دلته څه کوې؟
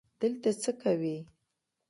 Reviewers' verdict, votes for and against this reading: rejected, 1, 2